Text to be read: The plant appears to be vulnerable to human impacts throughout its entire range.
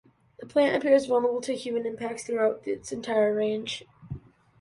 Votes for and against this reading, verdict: 0, 2, rejected